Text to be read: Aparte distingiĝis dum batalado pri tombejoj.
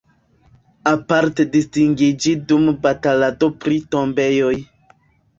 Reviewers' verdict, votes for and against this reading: rejected, 0, 2